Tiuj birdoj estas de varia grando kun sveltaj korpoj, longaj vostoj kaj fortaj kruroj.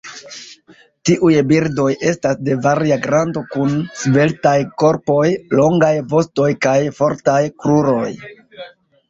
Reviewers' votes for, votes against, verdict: 2, 1, accepted